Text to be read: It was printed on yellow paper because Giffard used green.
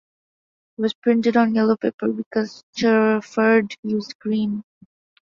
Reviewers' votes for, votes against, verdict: 0, 2, rejected